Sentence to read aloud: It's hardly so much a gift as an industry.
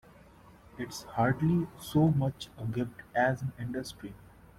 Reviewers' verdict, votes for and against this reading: accepted, 2, 1